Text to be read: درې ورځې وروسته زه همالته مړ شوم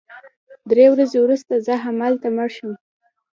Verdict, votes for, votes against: accepted, 3, 2